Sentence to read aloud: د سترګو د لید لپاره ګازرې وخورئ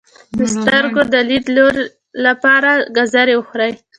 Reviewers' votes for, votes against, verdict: 2, 0, accepted